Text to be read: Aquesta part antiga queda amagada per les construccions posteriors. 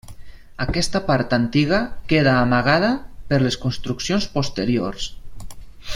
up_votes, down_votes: 3, 0